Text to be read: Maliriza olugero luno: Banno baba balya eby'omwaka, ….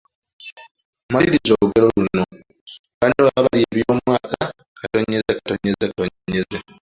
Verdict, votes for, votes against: rejected, 0, 2